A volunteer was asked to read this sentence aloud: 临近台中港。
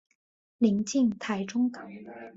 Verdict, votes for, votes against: accepted, 3, 0